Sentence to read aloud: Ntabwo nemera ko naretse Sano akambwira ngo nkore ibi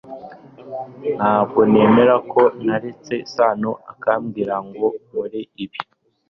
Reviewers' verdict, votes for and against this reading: accepted, 3, 0